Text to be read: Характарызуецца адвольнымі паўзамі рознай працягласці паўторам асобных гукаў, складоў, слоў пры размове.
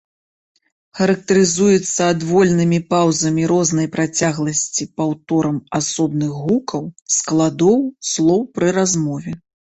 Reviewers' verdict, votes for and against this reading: accepted, 2, 0